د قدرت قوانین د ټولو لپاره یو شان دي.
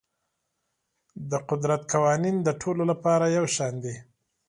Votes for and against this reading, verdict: 2, 0, accepted